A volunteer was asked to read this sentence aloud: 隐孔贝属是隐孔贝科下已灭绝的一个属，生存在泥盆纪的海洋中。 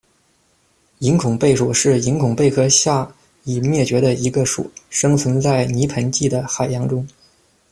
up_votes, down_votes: 2, 0